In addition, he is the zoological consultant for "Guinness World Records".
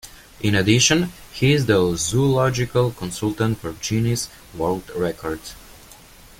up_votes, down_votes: 1, 2